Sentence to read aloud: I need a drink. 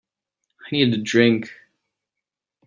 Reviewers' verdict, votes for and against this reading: rejected, 1, 2